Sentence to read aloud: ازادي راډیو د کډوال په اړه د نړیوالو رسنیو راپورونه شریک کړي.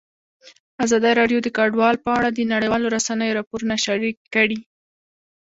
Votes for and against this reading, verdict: 1, 2, rejected